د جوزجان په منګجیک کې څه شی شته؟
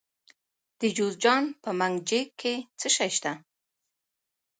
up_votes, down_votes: 2, 0